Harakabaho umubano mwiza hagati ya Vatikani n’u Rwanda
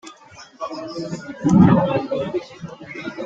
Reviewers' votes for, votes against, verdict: 0, 3, rejected